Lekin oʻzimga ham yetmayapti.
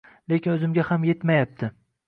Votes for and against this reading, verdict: 2, 0, accepted